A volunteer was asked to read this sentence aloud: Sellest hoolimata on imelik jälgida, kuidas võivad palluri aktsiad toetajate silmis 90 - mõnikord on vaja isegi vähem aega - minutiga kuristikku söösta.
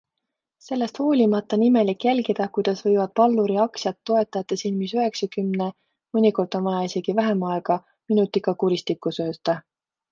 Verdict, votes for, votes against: rejected, 0, 2